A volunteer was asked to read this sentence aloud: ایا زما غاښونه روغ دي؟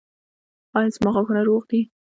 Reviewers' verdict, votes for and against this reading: rejected, 1, 2